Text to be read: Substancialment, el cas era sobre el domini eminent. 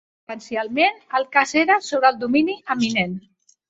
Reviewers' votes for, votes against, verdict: 1, 2, rejected